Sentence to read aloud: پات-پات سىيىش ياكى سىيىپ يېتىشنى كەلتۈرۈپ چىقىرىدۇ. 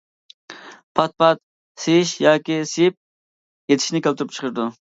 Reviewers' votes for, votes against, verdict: 2, 1, accepted